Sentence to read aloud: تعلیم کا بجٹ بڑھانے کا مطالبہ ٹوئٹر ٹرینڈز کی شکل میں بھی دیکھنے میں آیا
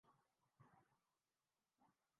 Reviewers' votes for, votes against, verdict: 0, 2, rejected